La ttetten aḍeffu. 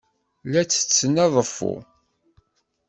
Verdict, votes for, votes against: accepted, 2, 0